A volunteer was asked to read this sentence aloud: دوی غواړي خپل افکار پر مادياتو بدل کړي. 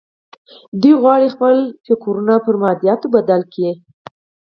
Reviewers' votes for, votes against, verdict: 4, 0, accepted